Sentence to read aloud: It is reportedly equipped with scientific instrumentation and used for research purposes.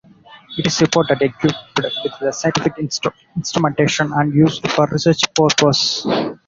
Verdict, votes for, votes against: rejected, 0, 4